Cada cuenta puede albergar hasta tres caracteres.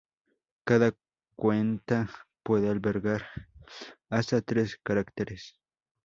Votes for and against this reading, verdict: 0, 2, rejected